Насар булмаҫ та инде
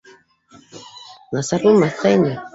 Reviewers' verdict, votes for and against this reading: rejected, 0, 2